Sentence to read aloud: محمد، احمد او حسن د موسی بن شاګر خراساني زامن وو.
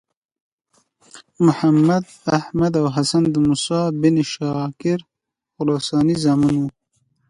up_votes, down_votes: 2, 0